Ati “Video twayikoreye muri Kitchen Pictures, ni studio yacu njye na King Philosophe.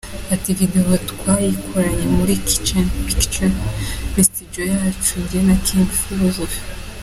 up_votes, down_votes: 2, 0